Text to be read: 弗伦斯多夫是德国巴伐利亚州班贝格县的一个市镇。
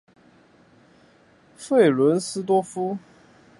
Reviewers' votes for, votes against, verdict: 0, 2, rejected